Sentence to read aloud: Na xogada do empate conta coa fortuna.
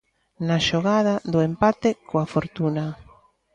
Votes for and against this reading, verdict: 0, 2, rejected